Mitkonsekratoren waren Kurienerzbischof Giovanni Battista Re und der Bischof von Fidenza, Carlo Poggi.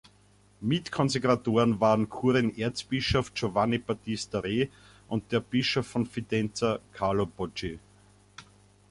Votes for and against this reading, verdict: 0, 2, rejected